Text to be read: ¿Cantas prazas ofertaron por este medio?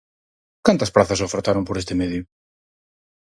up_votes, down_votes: 4, 0